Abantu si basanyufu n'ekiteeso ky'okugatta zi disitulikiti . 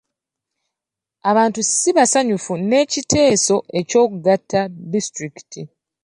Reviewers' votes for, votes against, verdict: 0, 2, rejected